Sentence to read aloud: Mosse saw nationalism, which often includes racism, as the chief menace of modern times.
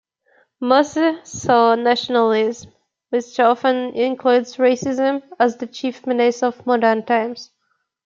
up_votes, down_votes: 0, 2